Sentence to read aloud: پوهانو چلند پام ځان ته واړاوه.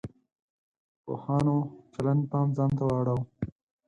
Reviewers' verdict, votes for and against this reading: rejected, 0, 4